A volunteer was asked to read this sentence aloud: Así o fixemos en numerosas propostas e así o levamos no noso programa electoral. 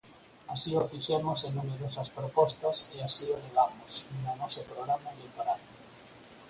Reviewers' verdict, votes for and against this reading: rejected, 0, 4